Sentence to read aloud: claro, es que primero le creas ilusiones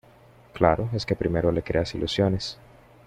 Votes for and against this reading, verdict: 2, 0, accepted